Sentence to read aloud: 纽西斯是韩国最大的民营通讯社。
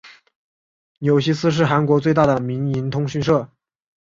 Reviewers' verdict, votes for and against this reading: accepted, 3, 0